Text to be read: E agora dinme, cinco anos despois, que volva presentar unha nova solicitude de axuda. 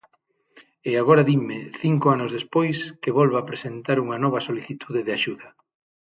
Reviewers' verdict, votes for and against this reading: accepted, 6, 0